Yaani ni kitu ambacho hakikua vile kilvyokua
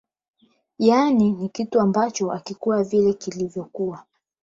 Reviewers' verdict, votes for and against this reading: rejected, 4, 8